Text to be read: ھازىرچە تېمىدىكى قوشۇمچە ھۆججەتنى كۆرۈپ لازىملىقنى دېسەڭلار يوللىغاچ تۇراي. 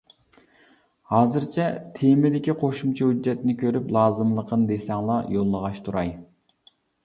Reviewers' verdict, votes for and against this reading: accepted, 2, 0